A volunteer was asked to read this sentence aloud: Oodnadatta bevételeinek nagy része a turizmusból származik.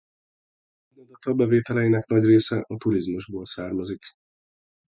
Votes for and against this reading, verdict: 0, 2, rejected